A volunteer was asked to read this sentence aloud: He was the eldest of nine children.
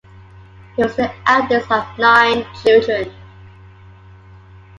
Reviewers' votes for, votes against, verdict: 2, 1, accepted